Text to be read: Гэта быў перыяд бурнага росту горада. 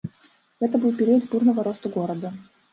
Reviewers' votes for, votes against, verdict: 0, 2, rejected